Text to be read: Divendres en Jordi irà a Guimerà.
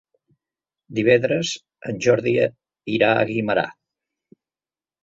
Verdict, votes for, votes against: rejected, 1, 2